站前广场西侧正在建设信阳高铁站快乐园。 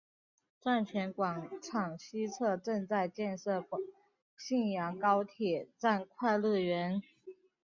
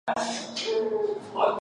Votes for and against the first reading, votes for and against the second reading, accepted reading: 2, 0, 0, 2, first